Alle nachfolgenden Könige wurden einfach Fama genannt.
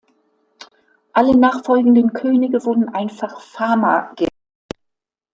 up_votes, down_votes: 0, 2